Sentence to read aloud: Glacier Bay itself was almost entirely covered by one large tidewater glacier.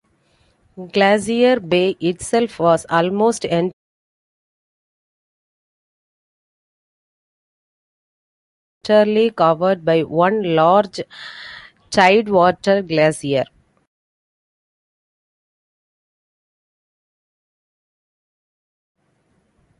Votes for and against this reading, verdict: 0, 2, rejected